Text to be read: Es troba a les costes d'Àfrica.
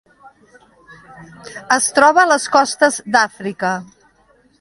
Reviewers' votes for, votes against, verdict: 2, 0, accepted